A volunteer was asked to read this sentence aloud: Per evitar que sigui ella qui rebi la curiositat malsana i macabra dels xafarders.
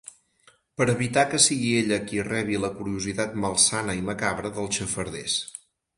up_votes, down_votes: 4, 2